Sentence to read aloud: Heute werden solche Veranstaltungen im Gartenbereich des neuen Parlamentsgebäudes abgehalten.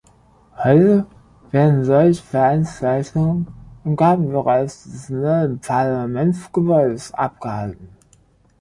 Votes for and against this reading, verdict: 1, 2, rejected